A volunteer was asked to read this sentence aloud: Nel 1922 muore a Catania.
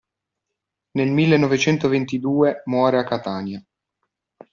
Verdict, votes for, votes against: rejected, 0, 2